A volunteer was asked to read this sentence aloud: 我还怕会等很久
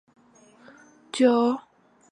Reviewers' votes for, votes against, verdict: 3, 0, accepted